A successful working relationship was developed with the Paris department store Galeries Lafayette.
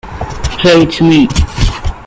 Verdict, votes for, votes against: rejected, 0, 2